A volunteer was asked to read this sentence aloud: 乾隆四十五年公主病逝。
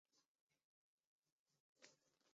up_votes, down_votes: 1, 3